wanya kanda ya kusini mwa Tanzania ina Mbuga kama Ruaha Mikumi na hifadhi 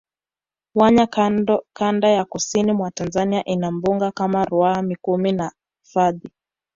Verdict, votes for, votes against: rejected, 0, 2